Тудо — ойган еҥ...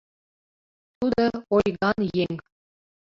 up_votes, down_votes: 1, 2